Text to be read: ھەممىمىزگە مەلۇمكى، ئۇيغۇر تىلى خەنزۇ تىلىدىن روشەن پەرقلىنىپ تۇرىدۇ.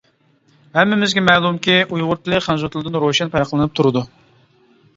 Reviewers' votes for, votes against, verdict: 2, 0, accepted